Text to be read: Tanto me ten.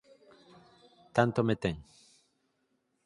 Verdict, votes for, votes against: accepted, 4, 0